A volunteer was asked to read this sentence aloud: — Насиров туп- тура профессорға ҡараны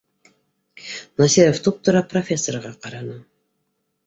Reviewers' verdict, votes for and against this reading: accepted, 2, 0